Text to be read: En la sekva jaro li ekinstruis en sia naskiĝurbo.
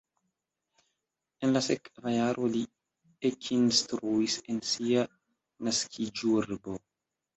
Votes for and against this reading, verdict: 2, 1, accepted